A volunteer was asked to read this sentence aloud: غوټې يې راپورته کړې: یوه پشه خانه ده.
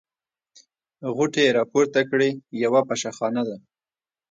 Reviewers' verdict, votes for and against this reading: accepted, 2, 1